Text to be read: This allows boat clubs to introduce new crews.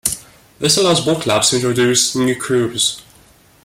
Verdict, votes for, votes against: accepted, 2, 0